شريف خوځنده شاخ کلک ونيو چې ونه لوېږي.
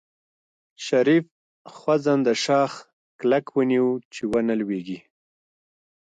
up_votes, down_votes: 2, 0